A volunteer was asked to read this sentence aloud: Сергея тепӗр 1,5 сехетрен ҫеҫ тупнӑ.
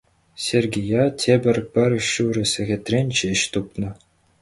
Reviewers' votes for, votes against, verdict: 0, 2, rejected